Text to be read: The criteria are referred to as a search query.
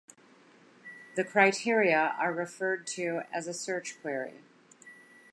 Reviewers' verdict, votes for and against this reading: accepted, 2, 0